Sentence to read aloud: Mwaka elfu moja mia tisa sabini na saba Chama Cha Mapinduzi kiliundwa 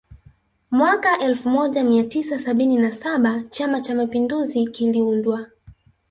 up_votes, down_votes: 0, 2